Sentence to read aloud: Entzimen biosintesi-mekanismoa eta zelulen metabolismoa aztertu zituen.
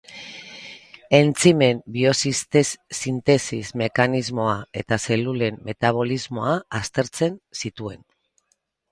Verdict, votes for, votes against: rejected, 2, 6